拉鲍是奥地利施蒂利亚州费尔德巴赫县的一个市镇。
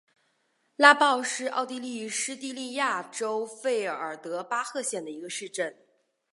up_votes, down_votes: 4, 2